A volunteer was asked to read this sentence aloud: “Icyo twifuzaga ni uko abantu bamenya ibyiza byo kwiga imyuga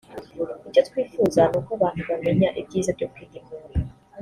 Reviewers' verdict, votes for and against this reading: rejected, 0, 2